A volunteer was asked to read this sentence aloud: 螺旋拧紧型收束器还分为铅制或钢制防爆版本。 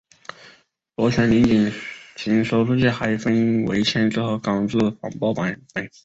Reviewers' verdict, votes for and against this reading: rejected, 0, 2